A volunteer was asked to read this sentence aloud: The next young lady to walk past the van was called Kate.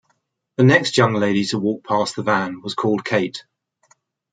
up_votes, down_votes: 2, 0